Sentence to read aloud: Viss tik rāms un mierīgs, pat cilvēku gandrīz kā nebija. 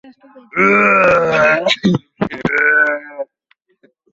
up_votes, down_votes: 0, 2